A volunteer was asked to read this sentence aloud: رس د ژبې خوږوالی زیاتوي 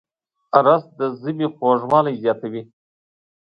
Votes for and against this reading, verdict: 2, 0, accepted